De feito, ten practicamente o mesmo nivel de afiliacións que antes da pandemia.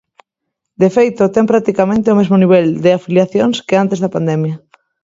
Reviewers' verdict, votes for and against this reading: accepted, 2, 0